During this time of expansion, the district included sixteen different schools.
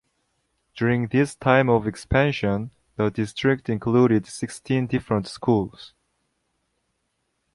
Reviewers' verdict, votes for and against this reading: accepted, 2, 0